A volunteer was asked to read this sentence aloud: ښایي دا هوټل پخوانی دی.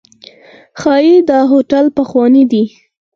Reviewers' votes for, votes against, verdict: 4, 0, accepted